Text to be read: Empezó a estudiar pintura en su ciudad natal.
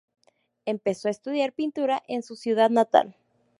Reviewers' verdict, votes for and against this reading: accepted, 2, 0